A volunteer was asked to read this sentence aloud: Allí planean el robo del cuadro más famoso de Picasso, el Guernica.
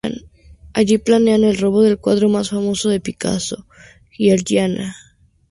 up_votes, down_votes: 0, 2